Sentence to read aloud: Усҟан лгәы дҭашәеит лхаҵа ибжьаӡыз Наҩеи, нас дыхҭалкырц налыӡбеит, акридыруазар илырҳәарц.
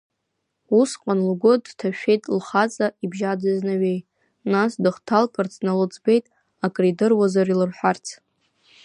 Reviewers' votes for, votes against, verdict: 0, 2, rejected